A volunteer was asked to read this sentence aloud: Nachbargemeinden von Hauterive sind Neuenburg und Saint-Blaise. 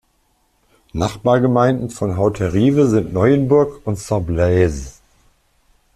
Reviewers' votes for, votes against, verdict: 2, 1, accepted